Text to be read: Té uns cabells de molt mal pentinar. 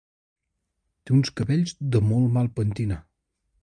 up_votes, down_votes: 2, 0